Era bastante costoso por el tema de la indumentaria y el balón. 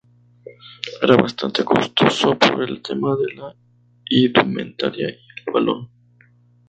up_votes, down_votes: 0, 2